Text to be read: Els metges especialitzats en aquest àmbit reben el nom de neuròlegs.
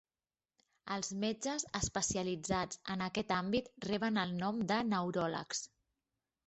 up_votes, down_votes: 4, 0